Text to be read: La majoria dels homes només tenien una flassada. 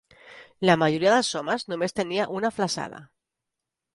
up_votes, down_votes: 1, 2